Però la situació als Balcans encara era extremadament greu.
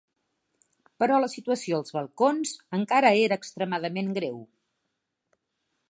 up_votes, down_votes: 0, 2